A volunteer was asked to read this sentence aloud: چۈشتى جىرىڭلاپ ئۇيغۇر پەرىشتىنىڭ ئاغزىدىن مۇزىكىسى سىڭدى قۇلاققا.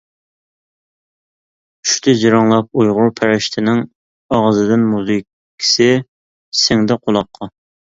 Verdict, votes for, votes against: accepted, 3, 1